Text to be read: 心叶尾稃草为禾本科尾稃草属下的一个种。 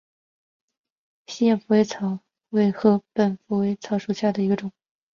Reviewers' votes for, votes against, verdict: 2, 2, rejected